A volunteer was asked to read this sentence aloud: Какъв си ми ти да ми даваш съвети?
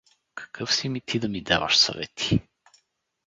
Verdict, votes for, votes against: rejected, 2, 2